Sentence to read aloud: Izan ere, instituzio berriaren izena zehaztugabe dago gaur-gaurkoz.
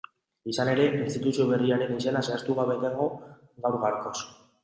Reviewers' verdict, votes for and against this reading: rejected, 1, 2